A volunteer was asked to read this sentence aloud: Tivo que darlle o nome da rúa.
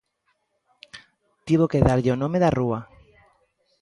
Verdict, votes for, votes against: accepted, 2, 0